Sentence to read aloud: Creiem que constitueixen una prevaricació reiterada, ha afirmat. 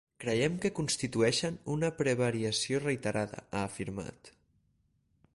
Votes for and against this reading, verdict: 0, 6, rejected